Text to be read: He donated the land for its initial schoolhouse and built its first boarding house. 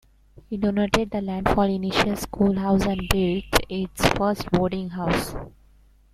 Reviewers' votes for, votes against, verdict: 0, 2, rejected